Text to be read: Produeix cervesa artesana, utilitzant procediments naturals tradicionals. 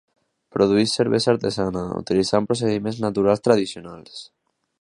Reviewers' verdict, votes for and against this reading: accepted, 2, 0